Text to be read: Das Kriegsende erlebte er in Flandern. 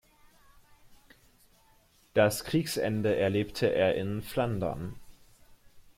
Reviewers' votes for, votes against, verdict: 2, 0, accepted